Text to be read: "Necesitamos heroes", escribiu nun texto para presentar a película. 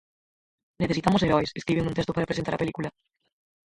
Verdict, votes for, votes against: rejected, 0, 4